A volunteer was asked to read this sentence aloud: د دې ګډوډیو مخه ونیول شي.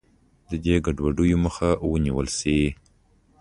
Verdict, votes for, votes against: accepted, 3, 0